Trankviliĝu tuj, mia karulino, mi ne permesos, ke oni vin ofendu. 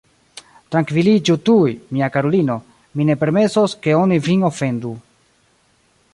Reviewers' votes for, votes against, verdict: 2, 0, accepted